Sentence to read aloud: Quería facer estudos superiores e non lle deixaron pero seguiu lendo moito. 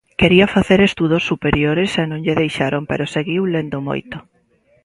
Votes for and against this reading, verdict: 2, 0, accepted